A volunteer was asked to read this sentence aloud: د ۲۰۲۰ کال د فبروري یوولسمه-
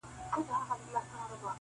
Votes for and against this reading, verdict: 0, 2, rejected